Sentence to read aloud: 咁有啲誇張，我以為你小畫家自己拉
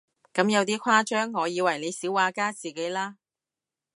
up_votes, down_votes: 0, 2